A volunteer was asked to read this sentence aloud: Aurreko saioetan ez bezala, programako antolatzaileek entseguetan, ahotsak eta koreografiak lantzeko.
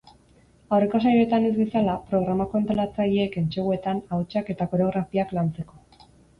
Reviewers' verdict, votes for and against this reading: accepted, 6, 0